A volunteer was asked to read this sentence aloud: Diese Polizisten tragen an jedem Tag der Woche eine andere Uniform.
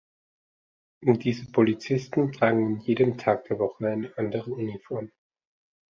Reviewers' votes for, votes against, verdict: 1, 2, rejected